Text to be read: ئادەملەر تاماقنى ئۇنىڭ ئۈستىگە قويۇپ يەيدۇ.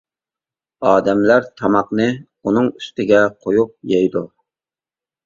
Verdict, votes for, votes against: accepted, 2, 0